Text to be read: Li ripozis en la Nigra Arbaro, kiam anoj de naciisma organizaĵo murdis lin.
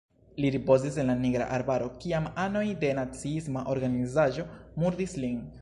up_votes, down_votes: 3, 0